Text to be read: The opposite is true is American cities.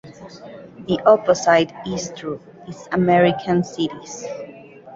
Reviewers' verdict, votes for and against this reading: accepted, 2, 0